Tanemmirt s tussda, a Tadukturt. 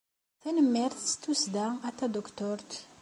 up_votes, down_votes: 2, 0